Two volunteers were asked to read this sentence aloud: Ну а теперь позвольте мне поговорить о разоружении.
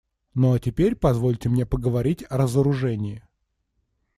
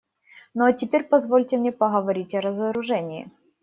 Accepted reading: first